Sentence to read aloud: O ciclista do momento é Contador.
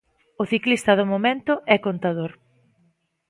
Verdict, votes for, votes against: accepted, 2, 0